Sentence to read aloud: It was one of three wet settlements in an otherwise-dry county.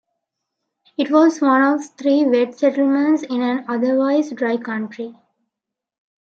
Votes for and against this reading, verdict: 0, 2, rejected